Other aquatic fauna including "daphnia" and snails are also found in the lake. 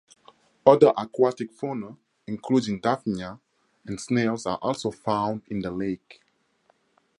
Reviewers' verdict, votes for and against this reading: rejected, 2, 2